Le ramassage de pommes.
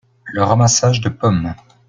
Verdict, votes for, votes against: accepted, 2, 0